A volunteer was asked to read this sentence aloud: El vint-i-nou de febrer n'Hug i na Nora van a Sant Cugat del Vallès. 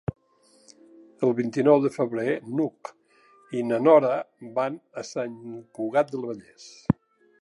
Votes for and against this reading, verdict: 0, 2, rejected